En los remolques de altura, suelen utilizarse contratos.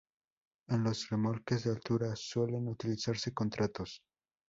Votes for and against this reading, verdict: 4, 0, accepted